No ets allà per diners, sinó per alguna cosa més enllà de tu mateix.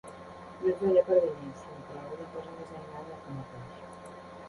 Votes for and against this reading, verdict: 0, 2, rejected